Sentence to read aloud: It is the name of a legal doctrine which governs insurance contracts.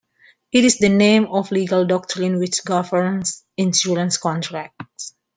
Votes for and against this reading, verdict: 0, 2, rejected